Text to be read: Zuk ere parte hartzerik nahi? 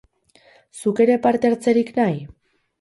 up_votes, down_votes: 8, 0